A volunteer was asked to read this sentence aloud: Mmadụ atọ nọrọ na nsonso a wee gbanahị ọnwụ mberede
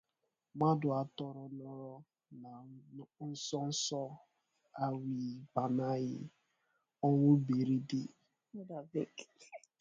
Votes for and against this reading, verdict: 1, 6, rejected